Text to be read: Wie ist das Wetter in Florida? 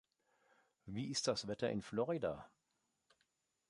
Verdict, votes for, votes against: accepted, 3, 0